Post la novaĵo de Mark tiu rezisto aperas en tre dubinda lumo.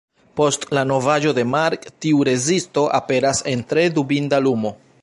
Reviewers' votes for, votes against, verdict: 1, 2, rejected